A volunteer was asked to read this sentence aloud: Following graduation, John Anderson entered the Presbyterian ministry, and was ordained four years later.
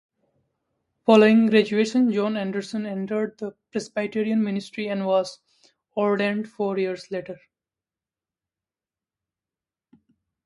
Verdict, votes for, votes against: rejected, 1, 2